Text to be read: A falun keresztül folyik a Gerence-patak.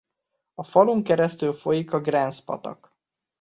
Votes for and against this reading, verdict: 2, 1, accepted